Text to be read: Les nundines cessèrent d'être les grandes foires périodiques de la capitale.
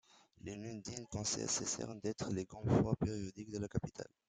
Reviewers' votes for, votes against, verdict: 0, 2, rejected